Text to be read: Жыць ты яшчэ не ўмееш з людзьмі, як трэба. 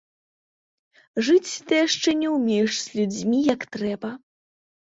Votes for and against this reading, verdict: 1, 2, rejected